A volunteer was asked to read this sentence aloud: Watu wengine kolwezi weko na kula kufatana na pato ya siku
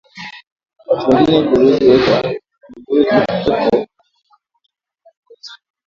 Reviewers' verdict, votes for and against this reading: rejected, 0, 2